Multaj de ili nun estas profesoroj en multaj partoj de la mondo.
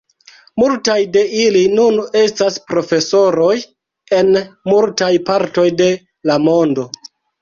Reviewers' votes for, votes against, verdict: 1, 2, rejected